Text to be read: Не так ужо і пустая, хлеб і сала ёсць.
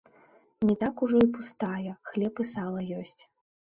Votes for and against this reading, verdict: 1, 3, rejected